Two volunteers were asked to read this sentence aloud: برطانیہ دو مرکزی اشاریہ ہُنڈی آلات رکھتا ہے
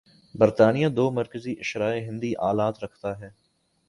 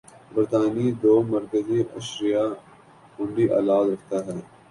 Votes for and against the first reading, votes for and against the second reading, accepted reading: 1, 2, 3, 1, second